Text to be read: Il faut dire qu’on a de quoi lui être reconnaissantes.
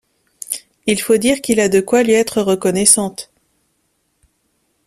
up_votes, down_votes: 1, 2